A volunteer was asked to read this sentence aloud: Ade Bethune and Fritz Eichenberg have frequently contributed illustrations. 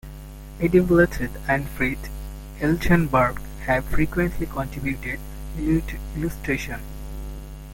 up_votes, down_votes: 0, 3